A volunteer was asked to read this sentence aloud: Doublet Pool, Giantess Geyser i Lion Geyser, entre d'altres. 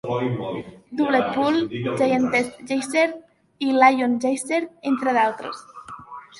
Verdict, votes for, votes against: rejected, 0, 3